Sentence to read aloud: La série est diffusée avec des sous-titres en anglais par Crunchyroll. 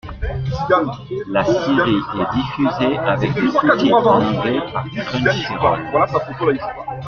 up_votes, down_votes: 0, 2